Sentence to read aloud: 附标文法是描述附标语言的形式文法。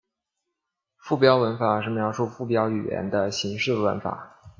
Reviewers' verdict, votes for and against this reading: accepted, 2, 0